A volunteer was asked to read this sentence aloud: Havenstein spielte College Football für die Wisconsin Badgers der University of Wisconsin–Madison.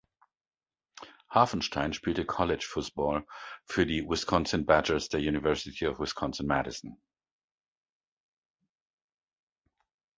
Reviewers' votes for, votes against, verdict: 0, 2, rejected